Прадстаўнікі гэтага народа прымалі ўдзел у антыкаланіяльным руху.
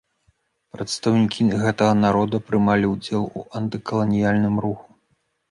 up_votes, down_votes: 3, 0